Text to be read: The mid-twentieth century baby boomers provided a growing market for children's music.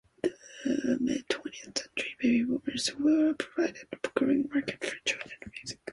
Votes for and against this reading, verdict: 0, 2, rejected